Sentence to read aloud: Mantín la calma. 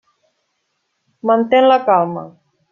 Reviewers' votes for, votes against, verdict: 1, 2, rejected